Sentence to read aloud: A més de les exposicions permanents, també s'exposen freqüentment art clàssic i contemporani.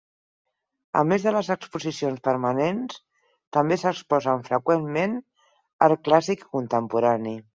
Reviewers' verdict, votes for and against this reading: rejected, 0, 4